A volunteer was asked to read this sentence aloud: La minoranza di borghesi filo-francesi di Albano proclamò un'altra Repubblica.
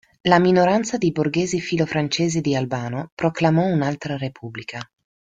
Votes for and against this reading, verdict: 2, 0, accepted